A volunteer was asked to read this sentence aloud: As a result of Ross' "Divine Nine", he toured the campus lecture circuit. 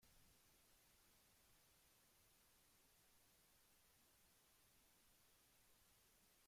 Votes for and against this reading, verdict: 0, 2, rejected